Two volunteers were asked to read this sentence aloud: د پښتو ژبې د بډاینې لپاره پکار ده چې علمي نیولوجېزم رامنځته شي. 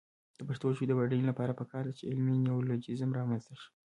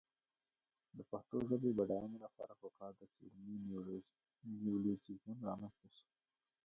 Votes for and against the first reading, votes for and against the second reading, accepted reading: 0, 2, 2, 0, second